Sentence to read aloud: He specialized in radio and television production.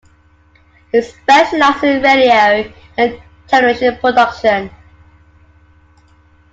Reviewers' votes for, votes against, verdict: 2, 1, accepted